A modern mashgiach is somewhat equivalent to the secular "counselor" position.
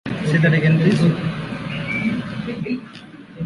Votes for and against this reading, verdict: 0, 2, rejected